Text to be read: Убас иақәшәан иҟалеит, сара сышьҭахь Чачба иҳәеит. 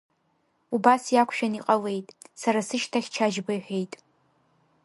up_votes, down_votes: 2, 0